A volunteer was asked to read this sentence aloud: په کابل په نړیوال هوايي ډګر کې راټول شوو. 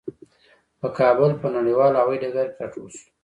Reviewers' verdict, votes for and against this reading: accepted, 2, 0